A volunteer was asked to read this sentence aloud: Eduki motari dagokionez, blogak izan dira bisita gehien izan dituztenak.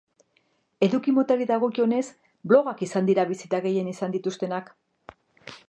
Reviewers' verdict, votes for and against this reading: accepted, 2, 0